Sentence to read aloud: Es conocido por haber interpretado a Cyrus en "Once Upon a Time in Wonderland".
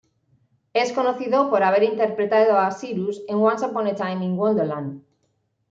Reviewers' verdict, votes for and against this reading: accepted, 2, 0